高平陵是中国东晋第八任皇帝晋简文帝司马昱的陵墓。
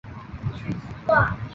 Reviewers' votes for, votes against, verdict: 1, 6, rejected